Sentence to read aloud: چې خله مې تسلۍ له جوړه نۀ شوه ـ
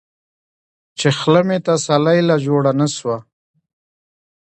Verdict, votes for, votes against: rejected, 1, 2